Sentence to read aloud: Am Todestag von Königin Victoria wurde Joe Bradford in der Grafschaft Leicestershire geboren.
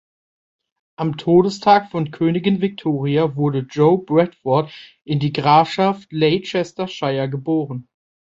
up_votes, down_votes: 0, 2